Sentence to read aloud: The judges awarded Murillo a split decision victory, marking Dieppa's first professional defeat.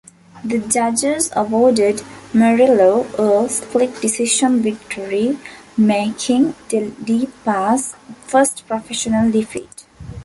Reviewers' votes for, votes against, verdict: 0, 2, rejected